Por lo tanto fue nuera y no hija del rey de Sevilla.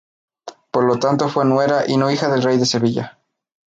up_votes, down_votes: 2, 0